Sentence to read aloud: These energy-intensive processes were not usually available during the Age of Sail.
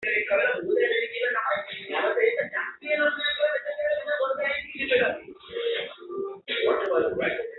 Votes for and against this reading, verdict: 0, 3, rejected